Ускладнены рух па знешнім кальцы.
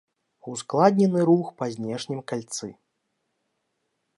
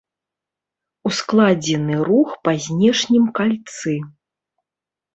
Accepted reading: first